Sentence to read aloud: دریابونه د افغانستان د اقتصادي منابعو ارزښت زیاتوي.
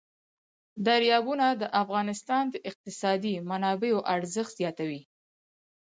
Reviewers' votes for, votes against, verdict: 4, 0, accepted